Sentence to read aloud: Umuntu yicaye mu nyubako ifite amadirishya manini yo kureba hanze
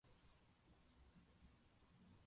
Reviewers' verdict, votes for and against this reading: rejected, 0, 2